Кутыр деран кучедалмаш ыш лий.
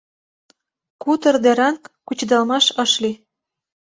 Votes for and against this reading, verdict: 2, 0, accepted